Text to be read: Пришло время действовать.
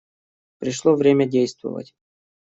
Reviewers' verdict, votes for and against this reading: accepted, 2, 0